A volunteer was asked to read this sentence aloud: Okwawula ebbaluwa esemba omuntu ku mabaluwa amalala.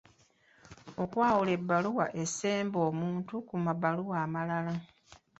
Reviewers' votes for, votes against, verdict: 2, 1, accepted